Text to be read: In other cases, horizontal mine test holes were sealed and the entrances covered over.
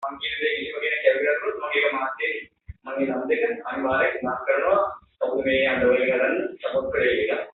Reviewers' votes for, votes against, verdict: 0, 3, rejected